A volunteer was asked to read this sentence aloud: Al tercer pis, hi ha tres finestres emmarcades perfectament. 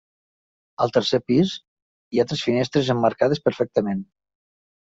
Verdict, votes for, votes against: accepted, 3, 0